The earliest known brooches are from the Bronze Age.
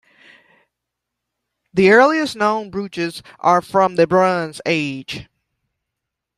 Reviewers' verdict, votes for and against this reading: rejected, 0, 2